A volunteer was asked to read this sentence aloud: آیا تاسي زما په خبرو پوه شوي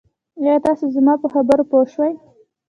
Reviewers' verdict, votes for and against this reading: rejected, 0, 2